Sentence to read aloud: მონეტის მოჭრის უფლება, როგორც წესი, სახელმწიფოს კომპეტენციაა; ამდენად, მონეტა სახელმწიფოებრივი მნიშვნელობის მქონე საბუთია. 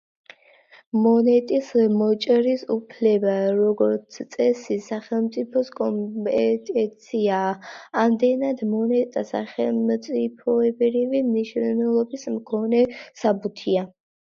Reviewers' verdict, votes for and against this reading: accepted, 2, 1